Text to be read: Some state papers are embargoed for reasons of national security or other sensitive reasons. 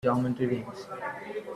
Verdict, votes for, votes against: rejected, 0, 2